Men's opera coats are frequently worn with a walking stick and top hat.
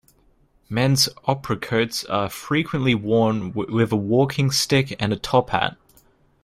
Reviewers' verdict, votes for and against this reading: accepted, 2, 1